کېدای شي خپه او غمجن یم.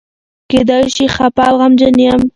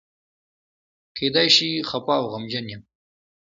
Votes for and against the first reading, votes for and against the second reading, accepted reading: 0, 2, 2, 0, second